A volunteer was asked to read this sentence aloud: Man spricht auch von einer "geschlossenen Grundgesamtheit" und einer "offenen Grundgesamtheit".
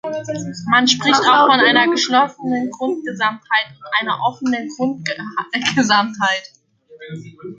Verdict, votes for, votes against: rejected, 1, 2